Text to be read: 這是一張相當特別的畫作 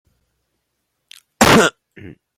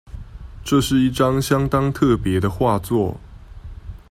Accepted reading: second